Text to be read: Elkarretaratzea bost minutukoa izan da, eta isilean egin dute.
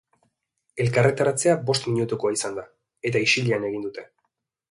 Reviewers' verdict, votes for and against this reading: accepted, 2, 0